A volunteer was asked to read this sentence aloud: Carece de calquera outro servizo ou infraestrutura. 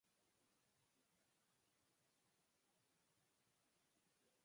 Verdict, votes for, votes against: rejected, 0, 6